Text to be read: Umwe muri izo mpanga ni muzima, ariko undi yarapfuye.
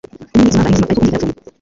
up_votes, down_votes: 0, 2